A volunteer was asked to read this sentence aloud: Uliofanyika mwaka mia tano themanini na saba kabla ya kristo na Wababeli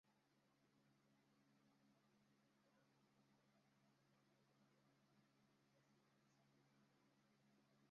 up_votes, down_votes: 0, 2